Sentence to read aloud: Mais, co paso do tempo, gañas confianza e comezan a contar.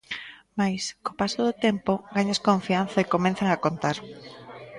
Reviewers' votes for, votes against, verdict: 1, 2, rejected